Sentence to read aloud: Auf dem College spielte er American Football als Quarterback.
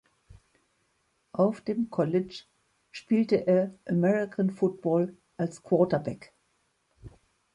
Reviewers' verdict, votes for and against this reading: accepted, 2, 0